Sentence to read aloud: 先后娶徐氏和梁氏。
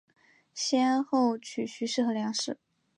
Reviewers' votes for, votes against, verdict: 2, 0, accepted